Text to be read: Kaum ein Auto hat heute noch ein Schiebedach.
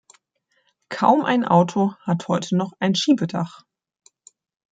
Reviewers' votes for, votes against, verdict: 2, 0, accepted